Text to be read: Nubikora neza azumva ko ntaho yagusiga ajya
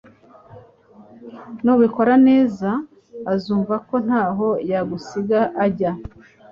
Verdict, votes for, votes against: accepted, 2, 0